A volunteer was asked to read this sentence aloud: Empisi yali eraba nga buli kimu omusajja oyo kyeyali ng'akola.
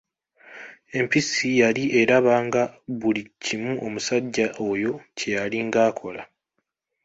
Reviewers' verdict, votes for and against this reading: accepted, 2, 0